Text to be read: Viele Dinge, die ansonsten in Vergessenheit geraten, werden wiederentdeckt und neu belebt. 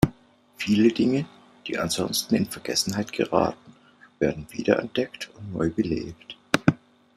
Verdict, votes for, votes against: accepted, 2, 0